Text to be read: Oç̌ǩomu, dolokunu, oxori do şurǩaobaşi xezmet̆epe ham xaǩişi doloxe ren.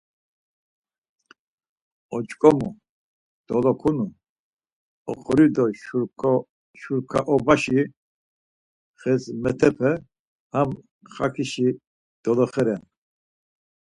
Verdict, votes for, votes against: rejected, 2, 4